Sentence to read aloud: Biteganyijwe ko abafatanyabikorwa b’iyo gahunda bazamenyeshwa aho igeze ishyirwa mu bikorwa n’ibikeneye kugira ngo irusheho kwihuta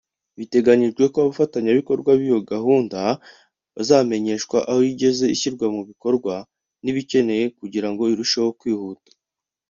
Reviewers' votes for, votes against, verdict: 2, 0, accepted